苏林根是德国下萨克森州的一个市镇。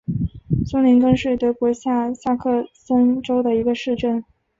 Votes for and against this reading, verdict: 3, 0, accepted